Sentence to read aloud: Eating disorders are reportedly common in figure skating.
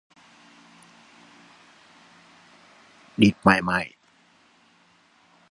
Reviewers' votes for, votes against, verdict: 0, 2, rejected